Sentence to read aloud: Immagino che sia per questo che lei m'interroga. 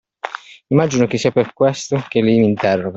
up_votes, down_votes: 2, 1